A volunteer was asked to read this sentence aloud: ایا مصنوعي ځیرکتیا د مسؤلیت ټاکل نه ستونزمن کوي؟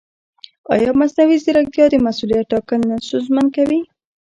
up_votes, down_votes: 2, 0